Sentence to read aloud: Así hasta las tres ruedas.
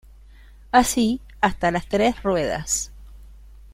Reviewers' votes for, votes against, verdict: 2, 0, accepted